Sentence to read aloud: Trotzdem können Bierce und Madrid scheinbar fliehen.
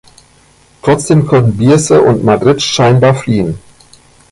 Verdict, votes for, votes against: accepted, 2, 0